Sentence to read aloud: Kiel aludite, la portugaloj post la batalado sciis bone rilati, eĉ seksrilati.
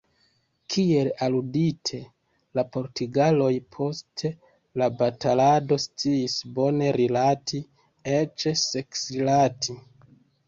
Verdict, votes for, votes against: rejected, 1, 2